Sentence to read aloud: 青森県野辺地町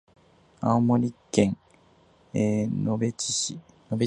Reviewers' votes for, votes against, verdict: 0, 4, rejected